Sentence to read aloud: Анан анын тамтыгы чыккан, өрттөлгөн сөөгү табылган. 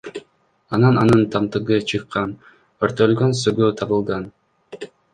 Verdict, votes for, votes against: rejected, 1, 2